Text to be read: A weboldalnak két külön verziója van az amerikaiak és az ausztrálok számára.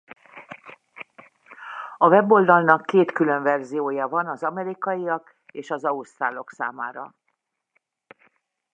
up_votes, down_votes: 0, 2